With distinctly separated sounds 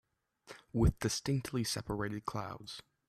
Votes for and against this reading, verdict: 1, 2, rejected